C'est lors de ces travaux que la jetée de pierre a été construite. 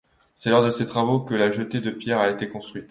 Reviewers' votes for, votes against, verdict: 2, 0, accepted